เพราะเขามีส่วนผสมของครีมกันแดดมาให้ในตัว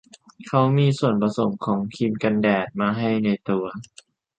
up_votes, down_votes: 0, 2